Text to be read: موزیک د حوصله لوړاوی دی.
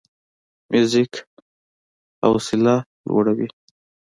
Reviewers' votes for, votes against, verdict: 1, 2, rejected